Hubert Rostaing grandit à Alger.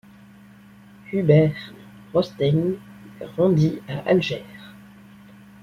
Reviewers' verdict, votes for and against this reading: rejected, 1, 2